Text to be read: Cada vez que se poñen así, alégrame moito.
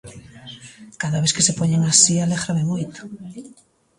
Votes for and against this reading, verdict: 1, 2, rejected